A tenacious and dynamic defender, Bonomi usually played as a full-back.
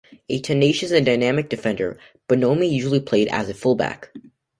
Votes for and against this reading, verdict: 2, 0, accepted